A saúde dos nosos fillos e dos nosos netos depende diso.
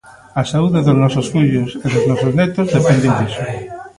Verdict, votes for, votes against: rejected, 0, 2